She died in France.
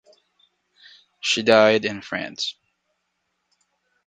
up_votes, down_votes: 2, 0